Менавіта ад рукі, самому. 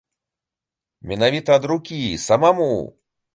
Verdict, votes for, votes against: rejected, 1, 2